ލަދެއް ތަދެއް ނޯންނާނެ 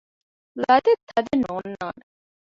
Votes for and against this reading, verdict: 0, 2, rejected